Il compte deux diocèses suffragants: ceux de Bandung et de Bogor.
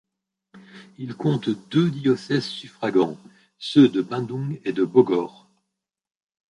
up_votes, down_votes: 2, 0